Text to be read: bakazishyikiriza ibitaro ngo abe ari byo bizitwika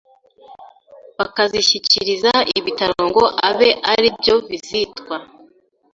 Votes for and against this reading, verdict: 1, 2, rejected